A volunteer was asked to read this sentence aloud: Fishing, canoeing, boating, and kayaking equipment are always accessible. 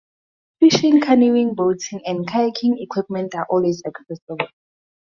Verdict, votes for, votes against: accepted, 2, 0